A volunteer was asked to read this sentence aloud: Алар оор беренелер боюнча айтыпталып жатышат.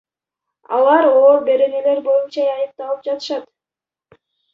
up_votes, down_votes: 1, 2